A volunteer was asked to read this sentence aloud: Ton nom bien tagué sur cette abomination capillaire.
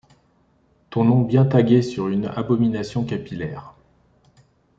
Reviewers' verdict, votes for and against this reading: rejected, 0, 2